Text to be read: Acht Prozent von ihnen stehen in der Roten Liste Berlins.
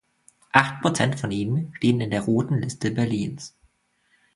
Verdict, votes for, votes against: accepted, 2, 0